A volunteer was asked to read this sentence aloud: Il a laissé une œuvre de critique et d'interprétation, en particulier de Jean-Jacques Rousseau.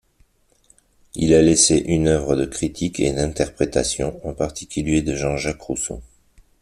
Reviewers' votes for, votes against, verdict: 2, 0, accepted